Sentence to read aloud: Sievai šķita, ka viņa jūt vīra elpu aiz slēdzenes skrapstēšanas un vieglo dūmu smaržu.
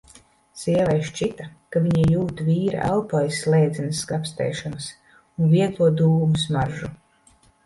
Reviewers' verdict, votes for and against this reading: accepted, 2, 0